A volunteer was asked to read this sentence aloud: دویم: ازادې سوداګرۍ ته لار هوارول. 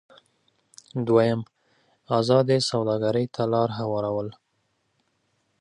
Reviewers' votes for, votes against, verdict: 2, 0, accepted